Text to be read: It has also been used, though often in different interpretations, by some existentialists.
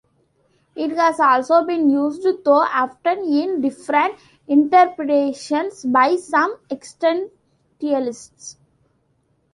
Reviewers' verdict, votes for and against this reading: rejected, 0, 2